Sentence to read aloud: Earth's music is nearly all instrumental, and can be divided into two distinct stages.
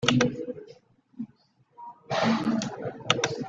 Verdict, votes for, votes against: rejected, 0, 2